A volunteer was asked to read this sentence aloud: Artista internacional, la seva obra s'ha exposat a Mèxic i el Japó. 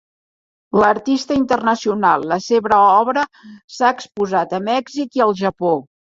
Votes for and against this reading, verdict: 1, 2, rejected